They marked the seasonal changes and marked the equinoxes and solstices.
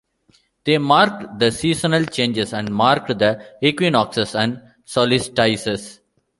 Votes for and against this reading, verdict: 0, 2, rejected